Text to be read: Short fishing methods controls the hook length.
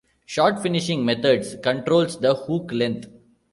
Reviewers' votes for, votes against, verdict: 0, 2, rejected